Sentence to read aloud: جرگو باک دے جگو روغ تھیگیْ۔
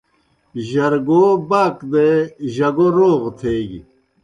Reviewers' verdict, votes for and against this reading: accepted, 2, 0